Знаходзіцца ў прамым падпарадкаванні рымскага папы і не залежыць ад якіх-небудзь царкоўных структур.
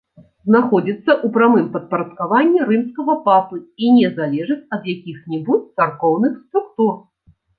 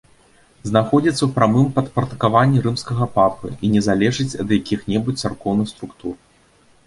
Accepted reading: second